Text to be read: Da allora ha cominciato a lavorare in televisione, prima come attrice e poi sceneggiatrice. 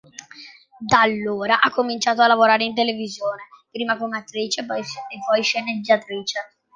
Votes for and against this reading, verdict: 2, 1, accepted